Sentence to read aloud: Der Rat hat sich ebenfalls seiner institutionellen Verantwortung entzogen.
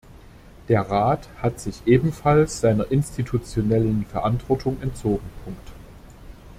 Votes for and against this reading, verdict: 0, 2, rejected